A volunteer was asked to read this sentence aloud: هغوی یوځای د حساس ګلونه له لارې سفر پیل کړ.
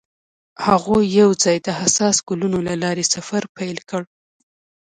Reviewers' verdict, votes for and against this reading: accepted, 2, 0